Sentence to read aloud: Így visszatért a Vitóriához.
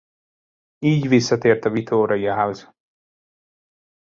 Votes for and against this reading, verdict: 1, 2, rejected